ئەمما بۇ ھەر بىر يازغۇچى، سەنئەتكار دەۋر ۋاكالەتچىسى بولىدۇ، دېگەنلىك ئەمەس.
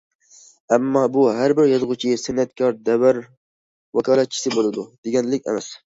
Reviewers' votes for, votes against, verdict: 2, 0, accepted